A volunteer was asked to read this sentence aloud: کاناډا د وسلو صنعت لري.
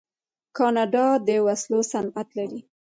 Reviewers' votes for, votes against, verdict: 1, 2, rejected